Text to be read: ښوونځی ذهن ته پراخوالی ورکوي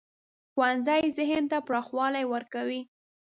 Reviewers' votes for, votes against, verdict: 2, 0, accepted